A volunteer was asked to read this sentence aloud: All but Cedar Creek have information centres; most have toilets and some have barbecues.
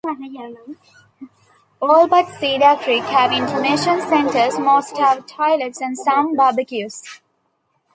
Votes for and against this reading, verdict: 2, 0, accepted